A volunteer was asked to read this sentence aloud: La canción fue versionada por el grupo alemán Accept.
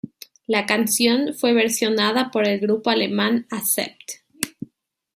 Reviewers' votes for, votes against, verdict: 2, 1, accepted